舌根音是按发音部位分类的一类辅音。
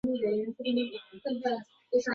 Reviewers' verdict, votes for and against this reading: rejected, 0, 2